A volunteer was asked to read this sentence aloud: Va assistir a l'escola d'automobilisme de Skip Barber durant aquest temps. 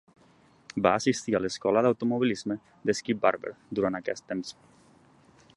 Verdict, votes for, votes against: accepted, 2, 0